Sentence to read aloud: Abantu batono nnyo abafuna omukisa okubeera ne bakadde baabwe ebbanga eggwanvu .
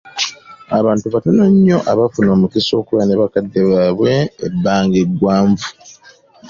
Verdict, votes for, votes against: accepted, 2, 0